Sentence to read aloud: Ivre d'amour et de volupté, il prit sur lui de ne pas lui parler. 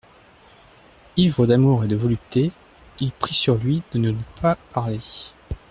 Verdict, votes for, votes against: rejected, 0, 2